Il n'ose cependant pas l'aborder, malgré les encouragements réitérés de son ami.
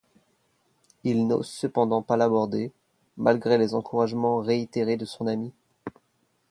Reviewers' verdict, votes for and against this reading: accepted, 2, 0